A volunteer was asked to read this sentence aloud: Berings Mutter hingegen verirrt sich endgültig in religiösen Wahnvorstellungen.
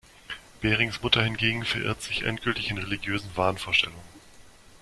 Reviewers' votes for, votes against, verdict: 1, 2, rejected